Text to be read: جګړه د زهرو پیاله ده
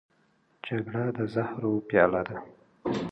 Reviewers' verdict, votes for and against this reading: accepted, 2, 0